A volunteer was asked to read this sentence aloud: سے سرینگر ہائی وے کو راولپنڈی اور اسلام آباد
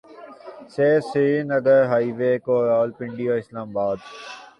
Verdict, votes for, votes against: accepted, 2, 0